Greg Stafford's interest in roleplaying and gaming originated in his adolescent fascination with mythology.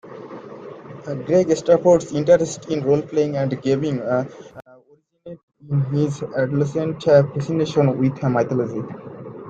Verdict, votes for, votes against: rejected, 0, 2